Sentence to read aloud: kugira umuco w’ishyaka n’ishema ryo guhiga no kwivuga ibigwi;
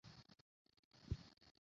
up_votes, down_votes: 0, 2